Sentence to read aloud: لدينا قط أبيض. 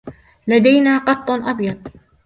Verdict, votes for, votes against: rejected, 0, 2